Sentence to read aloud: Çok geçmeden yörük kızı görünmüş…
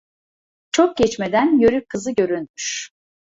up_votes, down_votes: 1, 2